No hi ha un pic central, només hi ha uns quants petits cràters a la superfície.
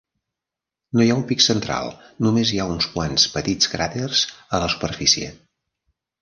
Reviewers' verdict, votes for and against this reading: accepted, 3, 0